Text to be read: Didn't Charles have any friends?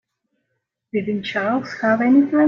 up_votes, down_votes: 0, 2